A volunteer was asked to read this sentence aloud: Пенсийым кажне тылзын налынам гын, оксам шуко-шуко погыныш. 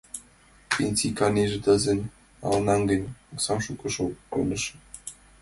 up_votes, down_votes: 0, 2